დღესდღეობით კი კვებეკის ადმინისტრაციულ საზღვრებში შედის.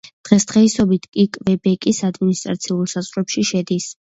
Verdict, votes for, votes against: rejected, 0, 2